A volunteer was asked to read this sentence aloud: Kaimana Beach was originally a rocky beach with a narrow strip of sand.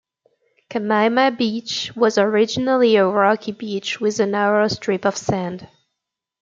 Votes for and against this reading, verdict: 2, 0, accepted